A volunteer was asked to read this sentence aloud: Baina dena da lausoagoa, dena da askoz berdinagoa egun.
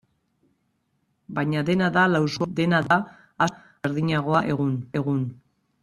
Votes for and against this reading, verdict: 1, 2, rejected